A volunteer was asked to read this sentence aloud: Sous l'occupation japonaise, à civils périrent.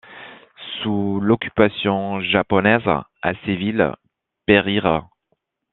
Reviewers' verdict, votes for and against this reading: accepted, 2, 1